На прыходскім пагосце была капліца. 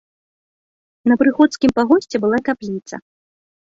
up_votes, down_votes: 2, 0